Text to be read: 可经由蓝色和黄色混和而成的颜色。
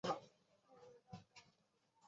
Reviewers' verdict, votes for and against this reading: accepted, 2, 0